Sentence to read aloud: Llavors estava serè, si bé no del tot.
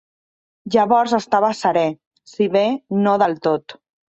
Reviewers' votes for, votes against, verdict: 2, 0, accepted